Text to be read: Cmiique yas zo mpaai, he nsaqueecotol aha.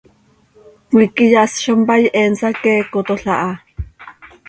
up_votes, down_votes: 2, 0